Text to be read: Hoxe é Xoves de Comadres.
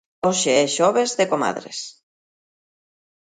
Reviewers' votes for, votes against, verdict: 2, 0, accepted